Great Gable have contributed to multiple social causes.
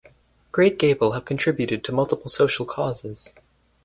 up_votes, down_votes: 4, 0